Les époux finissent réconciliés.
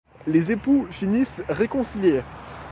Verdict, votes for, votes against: accepted, 2, 1